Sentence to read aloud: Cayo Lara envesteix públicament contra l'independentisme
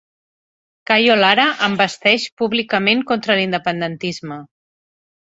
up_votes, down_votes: 5, 1